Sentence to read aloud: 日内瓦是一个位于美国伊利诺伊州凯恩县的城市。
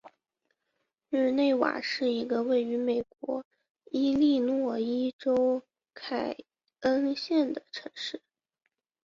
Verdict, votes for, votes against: accepted, 9, 0